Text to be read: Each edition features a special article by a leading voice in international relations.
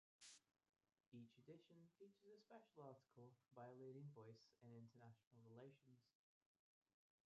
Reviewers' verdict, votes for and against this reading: rejected, 0, 2